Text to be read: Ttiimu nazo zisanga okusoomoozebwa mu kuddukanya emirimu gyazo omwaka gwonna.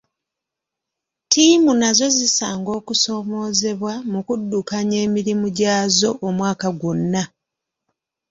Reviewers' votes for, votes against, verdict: 2, 0, accepted